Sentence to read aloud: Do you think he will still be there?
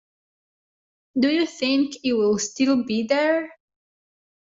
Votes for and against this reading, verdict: 0, 2, rejected